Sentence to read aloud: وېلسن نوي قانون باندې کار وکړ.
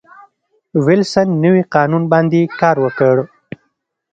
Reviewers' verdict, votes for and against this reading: accepted, 3, 0